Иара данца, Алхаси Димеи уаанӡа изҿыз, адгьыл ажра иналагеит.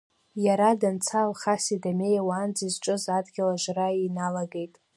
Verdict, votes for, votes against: accepted, 2, 1